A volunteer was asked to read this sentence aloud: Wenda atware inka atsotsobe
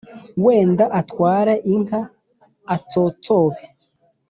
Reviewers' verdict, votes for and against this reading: accepted, 3, 0